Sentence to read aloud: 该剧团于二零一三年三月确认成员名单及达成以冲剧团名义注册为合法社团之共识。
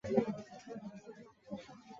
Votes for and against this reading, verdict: 1, 2, rejected